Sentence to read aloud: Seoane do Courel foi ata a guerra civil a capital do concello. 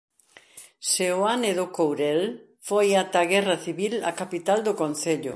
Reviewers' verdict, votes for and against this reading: accepted, 2, 0